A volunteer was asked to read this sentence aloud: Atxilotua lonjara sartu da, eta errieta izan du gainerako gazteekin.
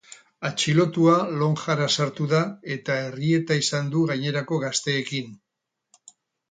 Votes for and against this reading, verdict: 4, 0, accepted